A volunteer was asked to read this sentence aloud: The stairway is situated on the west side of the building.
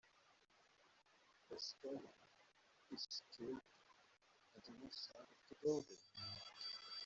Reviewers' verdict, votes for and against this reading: rejected, 0, 2